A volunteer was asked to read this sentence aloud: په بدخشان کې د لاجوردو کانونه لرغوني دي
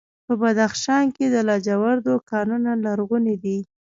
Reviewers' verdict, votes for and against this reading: rejected, 0, 2